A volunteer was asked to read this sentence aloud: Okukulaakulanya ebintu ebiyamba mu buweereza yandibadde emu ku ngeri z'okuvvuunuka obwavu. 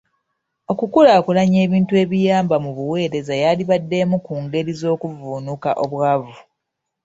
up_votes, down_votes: 2, 1